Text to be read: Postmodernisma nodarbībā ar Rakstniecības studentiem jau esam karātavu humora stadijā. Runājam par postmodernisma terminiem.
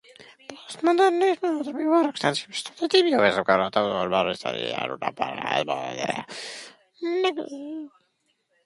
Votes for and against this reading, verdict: 0, 2, rejected